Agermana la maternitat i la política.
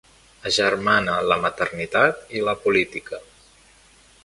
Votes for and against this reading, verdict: 2, 0, accepted